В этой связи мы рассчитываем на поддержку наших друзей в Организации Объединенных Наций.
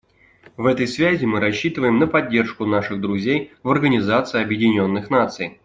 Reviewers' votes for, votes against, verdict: 2, 0, accepted